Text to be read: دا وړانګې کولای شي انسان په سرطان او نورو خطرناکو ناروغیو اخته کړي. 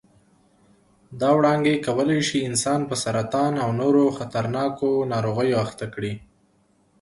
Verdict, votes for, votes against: accepted, 2, 0